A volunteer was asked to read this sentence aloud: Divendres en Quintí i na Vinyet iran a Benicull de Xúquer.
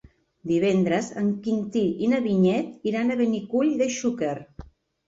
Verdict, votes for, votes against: accepted, 2, 0